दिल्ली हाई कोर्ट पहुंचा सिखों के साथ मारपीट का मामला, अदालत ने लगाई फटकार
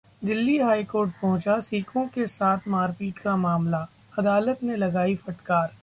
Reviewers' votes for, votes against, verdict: 2, 0, accepted